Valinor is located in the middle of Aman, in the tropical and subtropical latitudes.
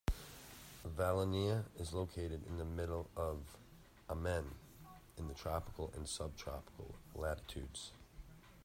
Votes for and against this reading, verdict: 1, 2, rejected